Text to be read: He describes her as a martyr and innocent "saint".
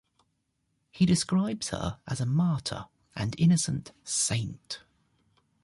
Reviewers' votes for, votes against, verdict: 2, 0, accepted